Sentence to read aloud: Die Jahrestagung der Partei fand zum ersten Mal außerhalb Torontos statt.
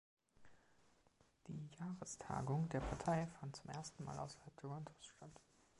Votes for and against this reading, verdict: 2, 0, accepted